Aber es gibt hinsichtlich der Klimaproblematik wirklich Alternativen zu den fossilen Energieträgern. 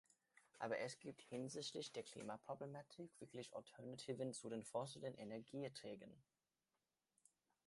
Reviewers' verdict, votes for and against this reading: accepted, 2, 0